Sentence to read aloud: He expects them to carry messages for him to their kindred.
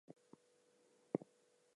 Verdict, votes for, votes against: accepted, 2, 0